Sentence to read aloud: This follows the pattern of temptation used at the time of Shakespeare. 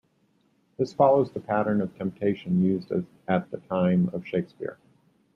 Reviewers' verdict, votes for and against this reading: rejected, 1, 2